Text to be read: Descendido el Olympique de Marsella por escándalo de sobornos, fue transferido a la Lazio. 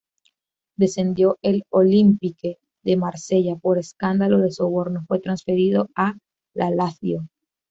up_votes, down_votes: 0, 2